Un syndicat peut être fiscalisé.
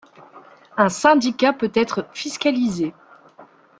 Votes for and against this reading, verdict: 2, 0, accepted